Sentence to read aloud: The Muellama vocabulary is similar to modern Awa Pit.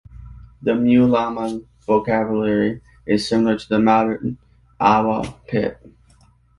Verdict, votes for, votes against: rejected, 1, 2